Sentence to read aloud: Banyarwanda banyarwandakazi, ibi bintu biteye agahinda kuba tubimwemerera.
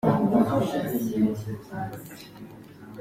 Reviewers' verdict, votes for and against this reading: rejected, 0, 4